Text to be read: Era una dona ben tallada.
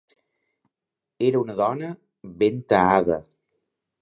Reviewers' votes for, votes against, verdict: 0, 2, rejected